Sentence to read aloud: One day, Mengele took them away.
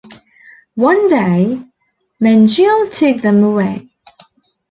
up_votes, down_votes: 0, 2